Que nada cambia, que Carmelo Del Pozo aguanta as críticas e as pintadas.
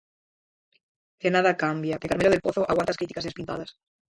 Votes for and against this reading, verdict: 0, 4, rejected